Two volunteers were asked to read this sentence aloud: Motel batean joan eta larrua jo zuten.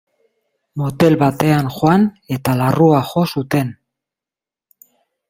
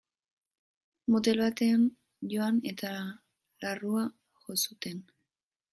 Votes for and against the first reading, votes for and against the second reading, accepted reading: 1, 2, 2, 0, second